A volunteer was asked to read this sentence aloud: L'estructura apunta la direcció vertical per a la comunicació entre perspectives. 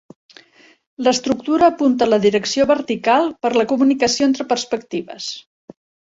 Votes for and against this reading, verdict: 1, 2, rejected